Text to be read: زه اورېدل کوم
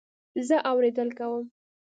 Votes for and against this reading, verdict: 2, 0, accepted